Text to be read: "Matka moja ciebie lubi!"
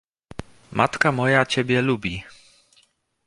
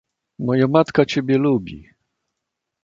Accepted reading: first